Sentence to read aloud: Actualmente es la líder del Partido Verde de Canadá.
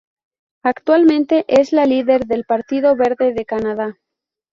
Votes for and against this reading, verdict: 0, 2, rejected